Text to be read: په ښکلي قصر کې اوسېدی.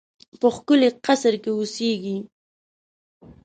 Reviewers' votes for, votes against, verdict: 0, 2, rejected